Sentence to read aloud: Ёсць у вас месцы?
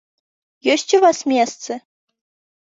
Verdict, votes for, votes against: accepted, 4, 0